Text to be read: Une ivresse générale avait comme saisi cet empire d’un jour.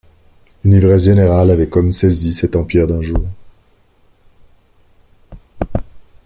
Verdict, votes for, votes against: accepted, 2, 0